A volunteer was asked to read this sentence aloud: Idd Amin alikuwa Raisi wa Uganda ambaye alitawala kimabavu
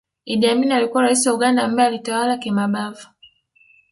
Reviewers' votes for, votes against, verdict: 2, 0, accepted